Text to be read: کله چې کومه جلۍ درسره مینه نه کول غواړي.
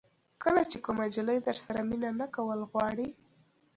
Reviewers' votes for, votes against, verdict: 1, 2, rejected